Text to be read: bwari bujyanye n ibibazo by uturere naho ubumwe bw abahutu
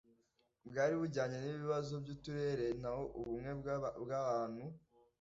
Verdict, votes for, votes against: rejected, 1, 2